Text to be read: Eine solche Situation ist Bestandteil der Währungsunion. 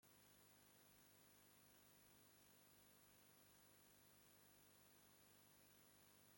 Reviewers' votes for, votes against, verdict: 0, 2, rejected